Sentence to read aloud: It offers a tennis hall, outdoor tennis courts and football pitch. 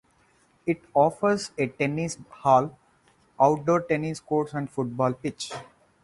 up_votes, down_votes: 4, 2